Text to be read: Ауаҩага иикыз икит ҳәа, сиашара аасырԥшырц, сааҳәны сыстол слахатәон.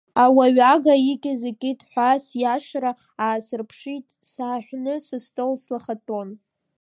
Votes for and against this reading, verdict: 1, 2, rejected